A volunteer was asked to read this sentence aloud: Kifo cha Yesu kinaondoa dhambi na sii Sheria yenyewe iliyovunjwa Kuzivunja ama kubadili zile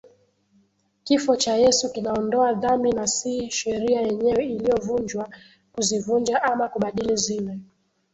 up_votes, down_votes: 2, 0